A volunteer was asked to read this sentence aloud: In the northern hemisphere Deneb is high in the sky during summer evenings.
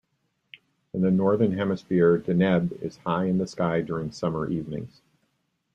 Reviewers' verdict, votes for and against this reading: accepted, 2, 0